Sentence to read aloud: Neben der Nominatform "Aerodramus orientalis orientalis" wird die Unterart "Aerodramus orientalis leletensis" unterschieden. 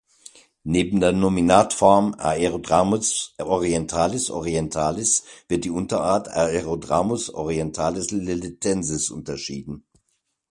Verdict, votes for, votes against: accepted, 2, 0